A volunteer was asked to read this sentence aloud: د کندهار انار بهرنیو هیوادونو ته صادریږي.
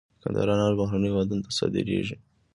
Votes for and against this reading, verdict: 2, 1, accepted